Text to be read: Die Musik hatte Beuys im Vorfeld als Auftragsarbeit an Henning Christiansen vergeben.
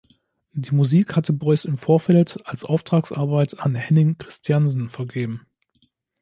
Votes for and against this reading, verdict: 2, 0, accepted